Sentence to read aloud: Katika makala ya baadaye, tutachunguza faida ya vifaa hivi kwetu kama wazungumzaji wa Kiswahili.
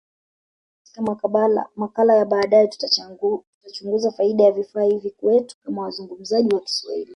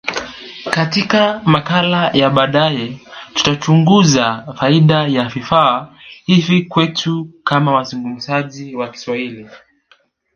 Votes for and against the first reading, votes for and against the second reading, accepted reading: 1, 2, 2, 0, second